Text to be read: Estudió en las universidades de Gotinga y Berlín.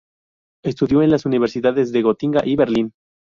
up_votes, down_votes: 0, 2